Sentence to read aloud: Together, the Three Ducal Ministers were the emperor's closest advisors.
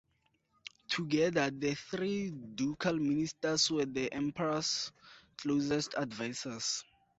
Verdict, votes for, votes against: accepted, 4, 2